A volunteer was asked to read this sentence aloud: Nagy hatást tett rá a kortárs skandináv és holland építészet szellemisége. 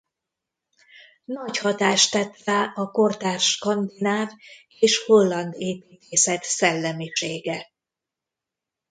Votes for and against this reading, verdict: 0, 2, rejected